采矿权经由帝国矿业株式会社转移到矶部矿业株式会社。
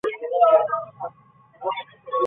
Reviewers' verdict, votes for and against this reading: rejected, 0, 2